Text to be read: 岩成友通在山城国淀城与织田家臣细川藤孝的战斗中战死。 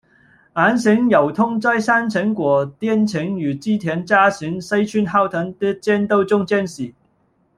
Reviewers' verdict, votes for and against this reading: rejected, 1, 2